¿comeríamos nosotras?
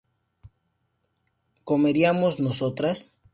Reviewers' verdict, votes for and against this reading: accepted, 2, 0